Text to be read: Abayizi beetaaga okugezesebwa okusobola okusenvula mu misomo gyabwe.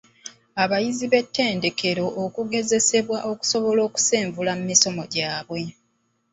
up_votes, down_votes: 1, 2